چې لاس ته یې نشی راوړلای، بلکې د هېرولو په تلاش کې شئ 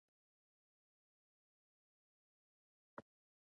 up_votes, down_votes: 0, 2